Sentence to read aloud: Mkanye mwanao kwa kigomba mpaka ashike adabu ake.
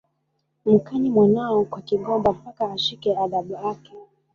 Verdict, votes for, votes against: rejected, 1, 2